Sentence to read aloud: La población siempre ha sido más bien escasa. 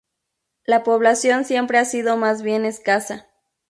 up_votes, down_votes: 0, 2